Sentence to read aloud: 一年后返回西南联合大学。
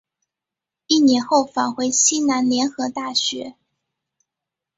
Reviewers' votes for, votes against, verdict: 2, 0, accepted